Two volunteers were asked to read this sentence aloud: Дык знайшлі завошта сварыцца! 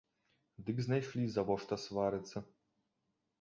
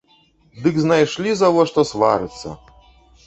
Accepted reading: first